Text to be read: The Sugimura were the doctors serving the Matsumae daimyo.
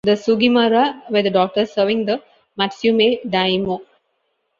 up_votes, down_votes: 1, 2